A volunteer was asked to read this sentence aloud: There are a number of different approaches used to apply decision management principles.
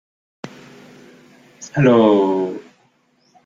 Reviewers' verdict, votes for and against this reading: rejected, 0, 2